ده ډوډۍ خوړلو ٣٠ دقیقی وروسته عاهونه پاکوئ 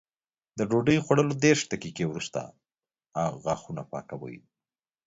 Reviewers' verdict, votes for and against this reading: rejected, 0, 2